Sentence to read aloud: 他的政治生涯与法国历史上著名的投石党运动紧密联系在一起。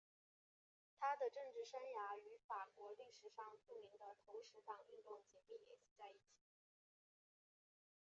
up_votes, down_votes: 0, 4